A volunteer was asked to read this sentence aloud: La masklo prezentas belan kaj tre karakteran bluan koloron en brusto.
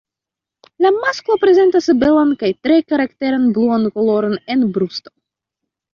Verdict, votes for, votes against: accepted, 2, 0